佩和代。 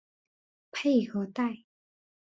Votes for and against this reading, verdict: 4, 0, accepted